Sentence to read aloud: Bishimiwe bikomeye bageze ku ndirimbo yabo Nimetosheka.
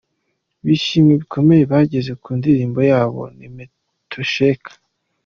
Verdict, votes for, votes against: accepted, 2, 1